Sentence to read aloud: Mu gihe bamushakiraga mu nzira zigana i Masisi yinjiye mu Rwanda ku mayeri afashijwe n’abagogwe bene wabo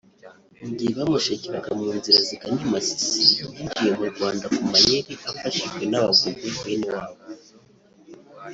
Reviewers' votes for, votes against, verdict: 1, 2, rejected